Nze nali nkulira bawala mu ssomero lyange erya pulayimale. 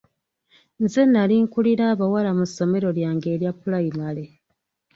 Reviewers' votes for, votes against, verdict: 2, 0, accepted